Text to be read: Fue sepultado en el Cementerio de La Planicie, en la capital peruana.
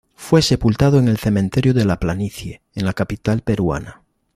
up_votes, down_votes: 2, 0